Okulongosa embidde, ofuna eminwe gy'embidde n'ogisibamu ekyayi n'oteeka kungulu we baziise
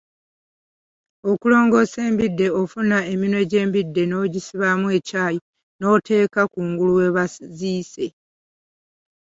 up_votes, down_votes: 2, 1